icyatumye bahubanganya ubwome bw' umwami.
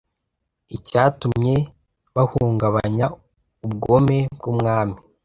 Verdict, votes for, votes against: rejected, 1, 2